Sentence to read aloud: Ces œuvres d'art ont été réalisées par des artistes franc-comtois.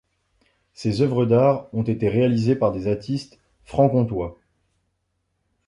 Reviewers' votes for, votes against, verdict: 0, 2, rejected